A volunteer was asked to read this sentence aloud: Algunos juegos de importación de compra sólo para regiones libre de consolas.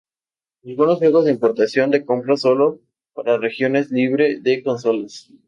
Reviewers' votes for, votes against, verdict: 0, 2, rejected